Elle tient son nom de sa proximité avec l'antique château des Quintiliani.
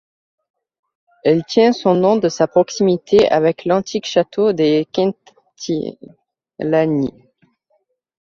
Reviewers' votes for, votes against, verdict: 0, 2, rejected